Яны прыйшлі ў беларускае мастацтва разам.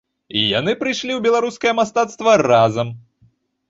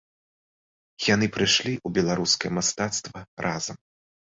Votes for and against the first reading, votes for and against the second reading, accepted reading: 0, 2, 2, 1, second